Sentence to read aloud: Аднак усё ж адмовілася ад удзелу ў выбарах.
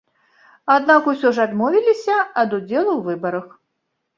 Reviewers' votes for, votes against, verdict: 1, 2, rejected